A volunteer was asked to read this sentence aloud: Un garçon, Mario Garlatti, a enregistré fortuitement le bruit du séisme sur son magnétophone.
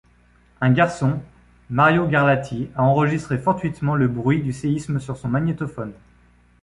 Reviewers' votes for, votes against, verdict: 2, 0, accepted